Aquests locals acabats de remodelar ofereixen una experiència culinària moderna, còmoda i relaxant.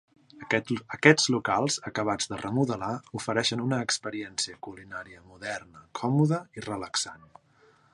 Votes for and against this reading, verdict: 1, 2, rejected